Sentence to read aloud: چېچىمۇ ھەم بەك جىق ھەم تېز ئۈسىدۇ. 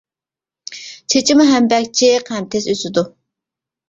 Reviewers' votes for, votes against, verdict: 0, 2, rejected